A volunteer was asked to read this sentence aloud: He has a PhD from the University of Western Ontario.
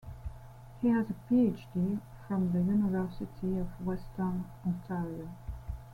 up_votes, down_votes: 2, 0